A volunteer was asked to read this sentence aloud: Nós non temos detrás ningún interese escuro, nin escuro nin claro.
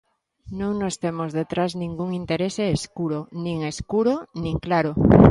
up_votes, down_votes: 1, 2